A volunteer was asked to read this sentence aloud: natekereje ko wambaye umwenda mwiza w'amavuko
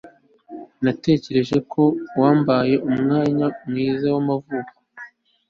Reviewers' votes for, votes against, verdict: 2, 0, accepted